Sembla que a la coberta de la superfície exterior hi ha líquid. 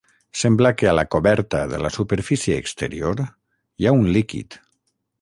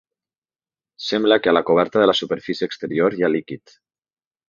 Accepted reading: second